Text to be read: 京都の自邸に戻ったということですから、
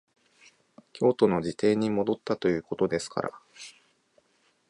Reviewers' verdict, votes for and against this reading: accepted, 2, 0